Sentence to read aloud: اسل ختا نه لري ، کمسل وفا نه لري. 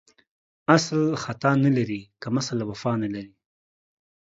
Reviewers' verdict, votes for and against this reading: rejected, 1, 2